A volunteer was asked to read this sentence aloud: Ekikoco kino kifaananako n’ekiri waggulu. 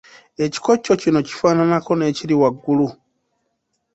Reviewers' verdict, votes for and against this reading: accepted, 2, 0